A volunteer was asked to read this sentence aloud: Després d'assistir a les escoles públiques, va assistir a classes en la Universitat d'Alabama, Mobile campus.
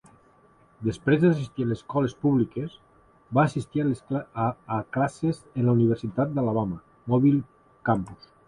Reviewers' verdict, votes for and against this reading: rejected, 1, 2